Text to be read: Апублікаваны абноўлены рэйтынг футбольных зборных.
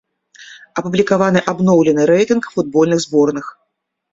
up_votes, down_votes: 2, 0